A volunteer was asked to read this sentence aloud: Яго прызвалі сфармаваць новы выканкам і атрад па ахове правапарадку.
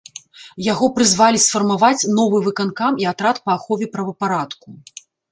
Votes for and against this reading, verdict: 2, 0, accepted